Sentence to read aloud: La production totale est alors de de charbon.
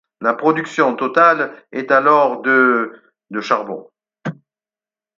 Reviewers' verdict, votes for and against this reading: accepted, 4, 0